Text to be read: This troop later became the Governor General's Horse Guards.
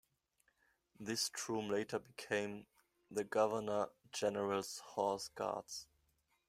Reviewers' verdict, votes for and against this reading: rejected, 1, 2